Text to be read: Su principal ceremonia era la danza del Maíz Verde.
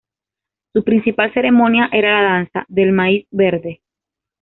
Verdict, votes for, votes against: accepted, 2, 0